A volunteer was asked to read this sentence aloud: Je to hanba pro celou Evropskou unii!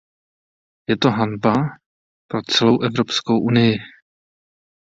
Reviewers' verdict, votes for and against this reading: accepted, 2, 0